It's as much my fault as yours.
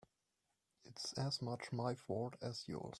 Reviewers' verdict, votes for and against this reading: rejected, 0, 2